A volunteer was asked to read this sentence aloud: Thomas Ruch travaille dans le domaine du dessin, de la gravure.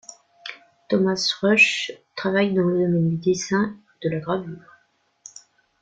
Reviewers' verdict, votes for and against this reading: rejected, 0, 2